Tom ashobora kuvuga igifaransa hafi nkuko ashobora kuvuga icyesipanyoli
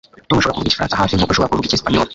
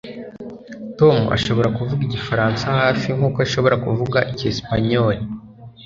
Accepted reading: second